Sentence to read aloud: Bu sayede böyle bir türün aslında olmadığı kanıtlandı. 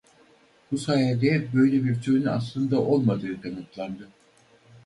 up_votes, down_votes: 4, 0